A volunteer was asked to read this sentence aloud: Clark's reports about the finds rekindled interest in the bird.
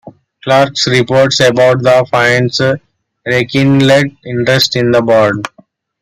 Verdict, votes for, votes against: rejected, 1, 2